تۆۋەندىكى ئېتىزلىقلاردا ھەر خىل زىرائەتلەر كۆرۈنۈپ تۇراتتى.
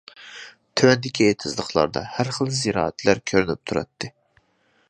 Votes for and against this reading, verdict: 2, 0, accepted